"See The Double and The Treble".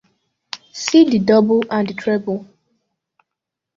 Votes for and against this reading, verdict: 2, 0, accepted